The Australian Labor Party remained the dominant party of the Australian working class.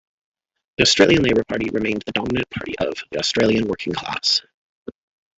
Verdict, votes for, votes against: rejected, 1, 2